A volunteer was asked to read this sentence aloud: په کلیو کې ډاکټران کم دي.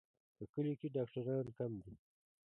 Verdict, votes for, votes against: accepted, 2, 1